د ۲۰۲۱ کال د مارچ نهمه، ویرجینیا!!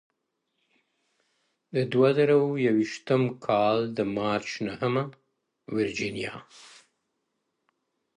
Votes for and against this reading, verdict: 0, 2, rejected